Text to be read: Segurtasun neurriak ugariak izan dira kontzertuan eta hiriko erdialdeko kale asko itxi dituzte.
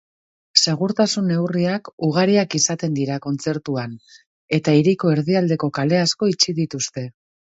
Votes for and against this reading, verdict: 2, 4, rejected